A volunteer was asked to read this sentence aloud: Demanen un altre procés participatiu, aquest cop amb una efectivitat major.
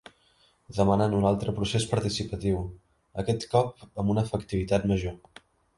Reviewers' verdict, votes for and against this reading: accepted, 3, 0